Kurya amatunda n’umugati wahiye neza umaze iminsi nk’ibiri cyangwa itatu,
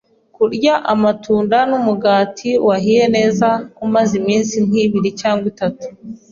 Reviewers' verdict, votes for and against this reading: accepted, 2, 0